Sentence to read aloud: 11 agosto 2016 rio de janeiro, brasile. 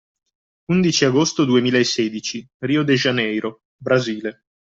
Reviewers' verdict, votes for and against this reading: rejected, 0, 2